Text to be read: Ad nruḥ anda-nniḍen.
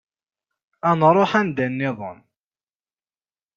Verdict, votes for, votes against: accepted, 2, 0